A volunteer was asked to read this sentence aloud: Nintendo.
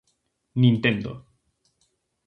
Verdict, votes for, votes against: accepted, 2, 0